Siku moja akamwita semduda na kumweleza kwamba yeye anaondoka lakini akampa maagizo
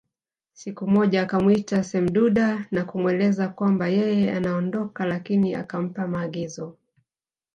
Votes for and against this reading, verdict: 1, 2, rejected